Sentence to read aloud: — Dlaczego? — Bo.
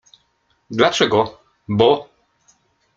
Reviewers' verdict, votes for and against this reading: rejected, 1, 2